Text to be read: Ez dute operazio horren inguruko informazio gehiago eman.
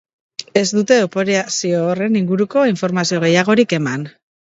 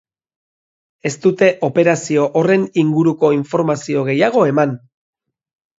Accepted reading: second